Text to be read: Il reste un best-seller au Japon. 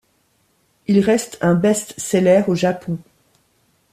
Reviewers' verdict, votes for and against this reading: accepted, 2, 0